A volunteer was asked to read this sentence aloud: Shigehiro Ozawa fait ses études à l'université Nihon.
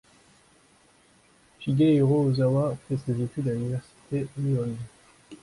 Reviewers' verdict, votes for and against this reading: accepted, 2, 0